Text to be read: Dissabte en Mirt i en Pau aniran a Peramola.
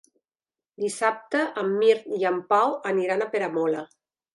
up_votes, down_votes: 3, 0